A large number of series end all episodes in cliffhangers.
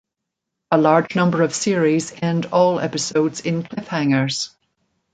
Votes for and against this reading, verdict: 2, 0, accepted